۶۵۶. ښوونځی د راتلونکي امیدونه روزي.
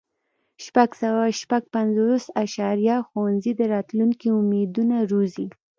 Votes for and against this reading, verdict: 0, 2, rejected